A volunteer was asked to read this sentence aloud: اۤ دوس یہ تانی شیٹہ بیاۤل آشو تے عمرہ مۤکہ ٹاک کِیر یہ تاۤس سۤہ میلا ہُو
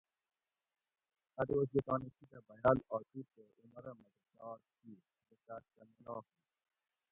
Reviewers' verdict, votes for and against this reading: rejected, 0, 2